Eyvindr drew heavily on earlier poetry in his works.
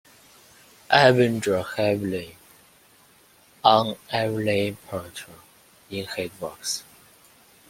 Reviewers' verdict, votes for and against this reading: rejected, 1, 2